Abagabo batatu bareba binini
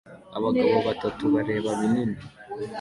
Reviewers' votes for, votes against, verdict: 2, 0, accepted